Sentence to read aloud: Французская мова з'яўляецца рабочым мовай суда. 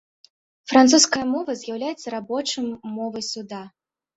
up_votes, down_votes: 1, 2